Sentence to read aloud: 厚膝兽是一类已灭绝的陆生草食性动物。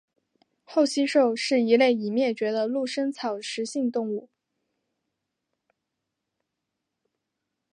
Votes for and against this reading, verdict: 3, 0, accepted